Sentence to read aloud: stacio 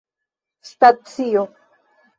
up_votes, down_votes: 0, 2